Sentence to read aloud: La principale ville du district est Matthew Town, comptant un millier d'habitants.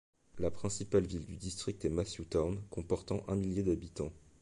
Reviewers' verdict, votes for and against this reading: rejected, 1, 2